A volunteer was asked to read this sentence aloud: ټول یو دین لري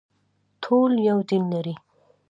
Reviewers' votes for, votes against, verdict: 2, 0, accepted